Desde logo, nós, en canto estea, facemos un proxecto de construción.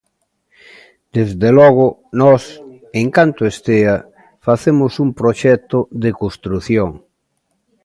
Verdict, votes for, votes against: accepted, 2, 0